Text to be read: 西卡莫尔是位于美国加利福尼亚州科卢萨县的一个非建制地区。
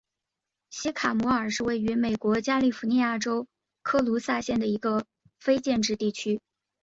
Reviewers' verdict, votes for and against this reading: accepted, 2, 0